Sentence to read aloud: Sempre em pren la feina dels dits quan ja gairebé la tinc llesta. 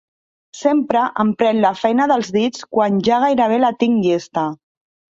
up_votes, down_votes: 2, 0